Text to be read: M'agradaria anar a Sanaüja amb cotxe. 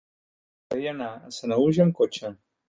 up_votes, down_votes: 0, 2